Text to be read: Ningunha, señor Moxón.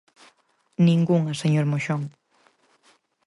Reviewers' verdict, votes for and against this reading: accepted, 4, 0